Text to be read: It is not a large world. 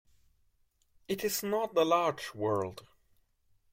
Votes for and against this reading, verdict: 2, 1, accepted